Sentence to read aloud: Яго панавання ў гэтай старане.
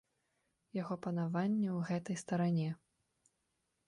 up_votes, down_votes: 2, 0